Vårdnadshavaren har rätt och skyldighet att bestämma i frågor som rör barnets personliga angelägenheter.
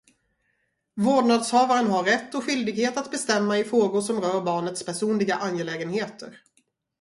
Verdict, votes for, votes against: rejected, 0, 2